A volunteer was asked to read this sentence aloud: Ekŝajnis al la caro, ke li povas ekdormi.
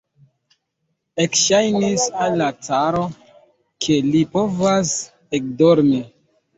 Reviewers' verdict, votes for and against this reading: rejected, 0, 2